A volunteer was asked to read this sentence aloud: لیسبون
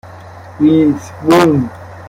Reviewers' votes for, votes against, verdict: 0, 2, rejected